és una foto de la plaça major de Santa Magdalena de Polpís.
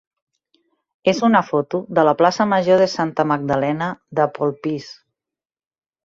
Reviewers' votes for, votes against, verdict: 4, 0, accepted